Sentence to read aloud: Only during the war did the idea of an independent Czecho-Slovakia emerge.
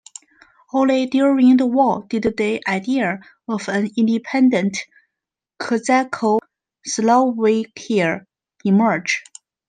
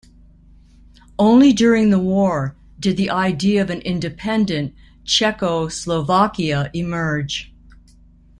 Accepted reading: second